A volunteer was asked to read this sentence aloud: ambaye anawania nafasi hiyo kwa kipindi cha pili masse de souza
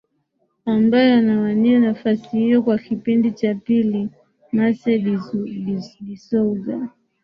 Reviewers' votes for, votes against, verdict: 0, 2, rejected